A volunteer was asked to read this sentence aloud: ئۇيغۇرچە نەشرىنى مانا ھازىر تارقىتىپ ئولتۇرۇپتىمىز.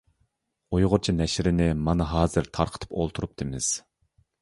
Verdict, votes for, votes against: accepted, 2, 0